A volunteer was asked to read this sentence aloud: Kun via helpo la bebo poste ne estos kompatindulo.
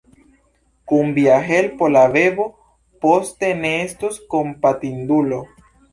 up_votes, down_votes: 2, 0